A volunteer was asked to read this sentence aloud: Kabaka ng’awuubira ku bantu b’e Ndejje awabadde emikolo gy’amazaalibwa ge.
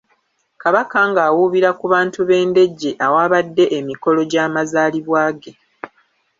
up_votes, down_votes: 1, 2